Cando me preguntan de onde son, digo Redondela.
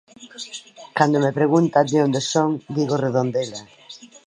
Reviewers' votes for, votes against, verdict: 1, 2, rejected